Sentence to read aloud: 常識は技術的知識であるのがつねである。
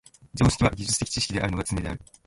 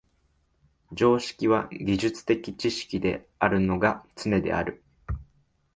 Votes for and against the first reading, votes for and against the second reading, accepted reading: 1, 2, 4, 0, second